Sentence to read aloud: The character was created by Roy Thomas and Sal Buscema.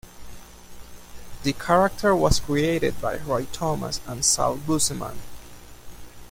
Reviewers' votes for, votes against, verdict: 2, 1, accepted